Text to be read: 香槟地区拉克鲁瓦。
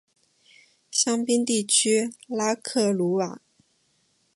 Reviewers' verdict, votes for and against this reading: accepted, 2, 0